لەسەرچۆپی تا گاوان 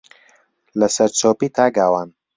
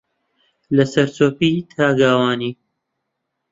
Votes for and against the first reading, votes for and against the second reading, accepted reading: 2, 0, 0, 2, first